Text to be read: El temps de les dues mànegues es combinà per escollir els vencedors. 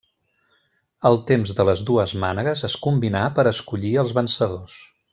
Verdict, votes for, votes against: accepted, 3, 0